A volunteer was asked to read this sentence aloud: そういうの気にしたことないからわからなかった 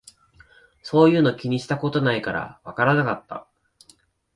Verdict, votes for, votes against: accepted, 13, 1